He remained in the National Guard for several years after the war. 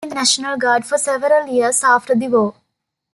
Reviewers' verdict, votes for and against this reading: rejected, 0, 2